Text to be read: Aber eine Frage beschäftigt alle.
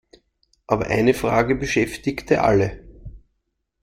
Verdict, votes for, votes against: rejected, 0, 2